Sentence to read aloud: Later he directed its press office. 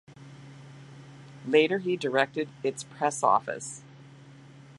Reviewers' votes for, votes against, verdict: 2, 0, accepted